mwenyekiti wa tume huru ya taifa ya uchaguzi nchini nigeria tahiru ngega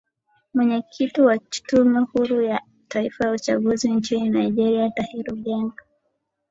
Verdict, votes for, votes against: accepted, 2, 0